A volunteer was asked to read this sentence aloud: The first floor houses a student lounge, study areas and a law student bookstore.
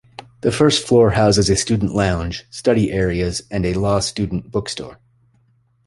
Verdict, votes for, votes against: accepted, 2, 0